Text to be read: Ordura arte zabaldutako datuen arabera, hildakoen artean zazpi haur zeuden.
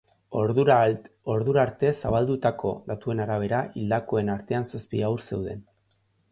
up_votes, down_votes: 0, 2